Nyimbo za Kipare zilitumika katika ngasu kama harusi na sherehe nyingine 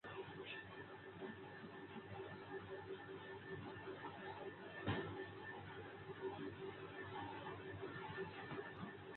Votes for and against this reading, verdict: 0, 2, rejected